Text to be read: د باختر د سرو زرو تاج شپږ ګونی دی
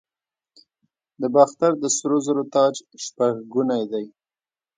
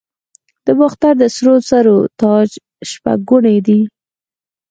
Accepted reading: second